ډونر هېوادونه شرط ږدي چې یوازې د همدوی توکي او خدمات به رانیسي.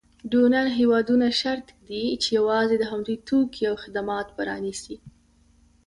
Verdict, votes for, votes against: rejected, 0, 2